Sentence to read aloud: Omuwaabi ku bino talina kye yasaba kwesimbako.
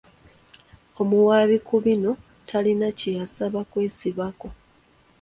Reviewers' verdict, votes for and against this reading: rejected, 1, 2